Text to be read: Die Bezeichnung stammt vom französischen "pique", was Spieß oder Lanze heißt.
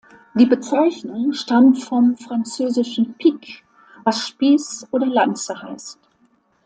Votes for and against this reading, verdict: 3, 0, accepted